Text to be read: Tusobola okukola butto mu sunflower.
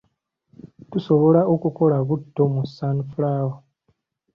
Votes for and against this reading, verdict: 2, 0, accepted